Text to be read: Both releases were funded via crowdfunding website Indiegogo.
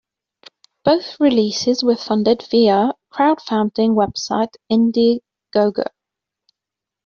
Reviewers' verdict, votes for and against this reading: rejected, 1, 2